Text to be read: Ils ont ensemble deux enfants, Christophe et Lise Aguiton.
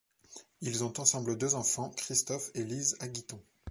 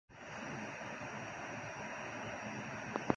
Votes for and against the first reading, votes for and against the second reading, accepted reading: 2, 0, 0, 2, first